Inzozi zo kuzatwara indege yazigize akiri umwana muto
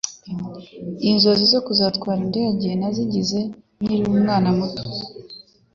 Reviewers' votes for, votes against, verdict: 0, 2, rejected